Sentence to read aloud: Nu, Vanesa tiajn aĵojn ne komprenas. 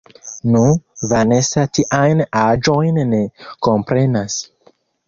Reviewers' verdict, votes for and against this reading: accepted, 3, 1